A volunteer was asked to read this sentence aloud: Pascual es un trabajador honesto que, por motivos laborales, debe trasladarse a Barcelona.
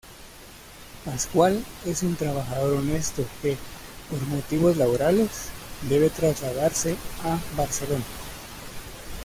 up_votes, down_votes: 0, 2